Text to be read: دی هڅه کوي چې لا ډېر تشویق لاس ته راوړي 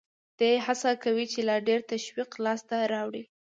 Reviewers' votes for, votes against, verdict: 2, 0, accepted